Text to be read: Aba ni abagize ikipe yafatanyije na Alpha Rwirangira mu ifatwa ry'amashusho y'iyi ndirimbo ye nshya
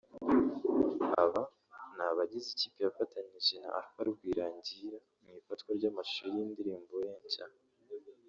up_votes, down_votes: 1, 2